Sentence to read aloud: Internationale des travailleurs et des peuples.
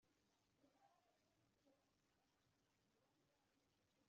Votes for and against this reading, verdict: 0, 2, rejected